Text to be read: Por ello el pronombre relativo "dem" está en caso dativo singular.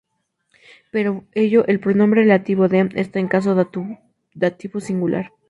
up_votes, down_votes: 0, 2